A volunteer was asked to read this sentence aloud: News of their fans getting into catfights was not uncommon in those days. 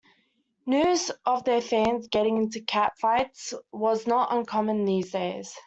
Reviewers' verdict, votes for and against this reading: rejected, 0, 2